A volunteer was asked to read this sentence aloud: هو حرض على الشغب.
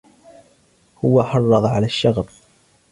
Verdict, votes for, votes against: rejected, 1, 2